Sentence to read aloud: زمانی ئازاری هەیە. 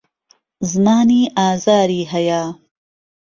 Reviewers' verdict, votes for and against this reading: accepted, 2, 0